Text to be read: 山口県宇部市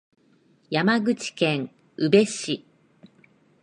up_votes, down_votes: 20, 3